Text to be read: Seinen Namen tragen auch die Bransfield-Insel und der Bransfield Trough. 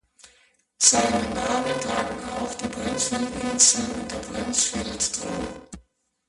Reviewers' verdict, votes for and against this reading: rejected, 0, 2